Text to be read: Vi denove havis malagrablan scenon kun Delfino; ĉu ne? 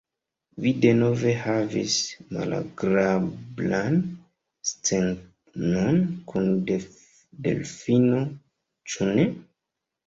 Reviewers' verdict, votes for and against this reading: rejected, 0, 2